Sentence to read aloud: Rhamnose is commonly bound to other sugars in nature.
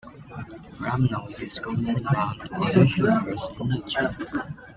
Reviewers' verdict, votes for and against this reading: rejected, 1, 2